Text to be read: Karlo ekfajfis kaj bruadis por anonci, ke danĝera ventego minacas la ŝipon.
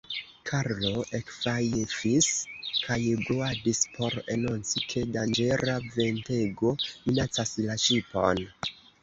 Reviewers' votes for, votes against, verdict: 1, 2, rejected